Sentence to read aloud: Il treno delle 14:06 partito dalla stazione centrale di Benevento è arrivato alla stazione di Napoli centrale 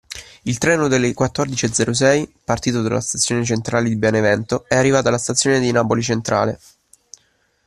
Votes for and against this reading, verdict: 0, 2, rejected